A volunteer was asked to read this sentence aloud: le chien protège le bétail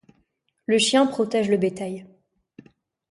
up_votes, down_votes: 2, 0